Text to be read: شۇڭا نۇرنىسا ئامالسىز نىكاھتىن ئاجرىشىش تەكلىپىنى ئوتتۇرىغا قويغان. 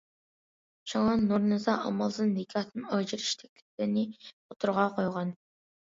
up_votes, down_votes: 0, 2